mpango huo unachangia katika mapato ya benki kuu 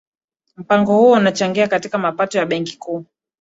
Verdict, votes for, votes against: accepted, 2, 1